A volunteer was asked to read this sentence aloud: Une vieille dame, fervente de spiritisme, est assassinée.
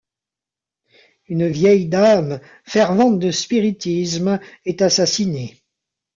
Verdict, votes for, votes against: rejected, 1, 2